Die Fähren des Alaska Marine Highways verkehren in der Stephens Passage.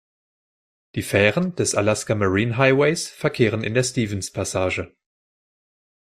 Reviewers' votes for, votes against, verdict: 2, 0, accepted